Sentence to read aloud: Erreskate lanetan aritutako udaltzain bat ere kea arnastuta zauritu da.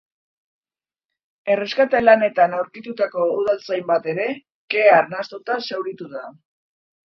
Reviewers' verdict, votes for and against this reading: rejected, 0, 2